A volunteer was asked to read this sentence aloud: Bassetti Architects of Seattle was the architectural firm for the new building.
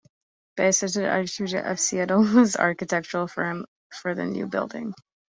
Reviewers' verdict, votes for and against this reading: rejected, 0, 2